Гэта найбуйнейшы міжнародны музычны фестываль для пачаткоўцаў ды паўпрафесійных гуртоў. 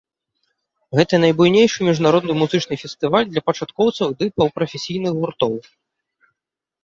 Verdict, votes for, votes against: accepted, 2, 0